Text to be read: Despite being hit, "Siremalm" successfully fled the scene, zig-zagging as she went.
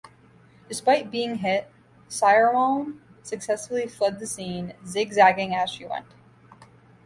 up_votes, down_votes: 2, 0